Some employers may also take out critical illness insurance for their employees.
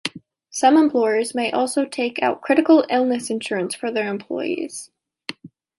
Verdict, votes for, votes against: accepted, 2, 0